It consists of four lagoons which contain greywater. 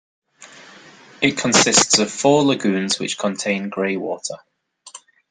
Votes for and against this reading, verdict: 2, 0, accepted